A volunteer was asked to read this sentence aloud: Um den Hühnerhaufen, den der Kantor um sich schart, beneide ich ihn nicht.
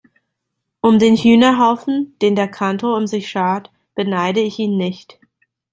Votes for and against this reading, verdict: 2, 0, accepted